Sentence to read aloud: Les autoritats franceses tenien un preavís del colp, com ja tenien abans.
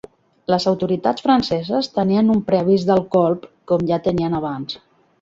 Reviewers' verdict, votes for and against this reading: accepted, 3, 1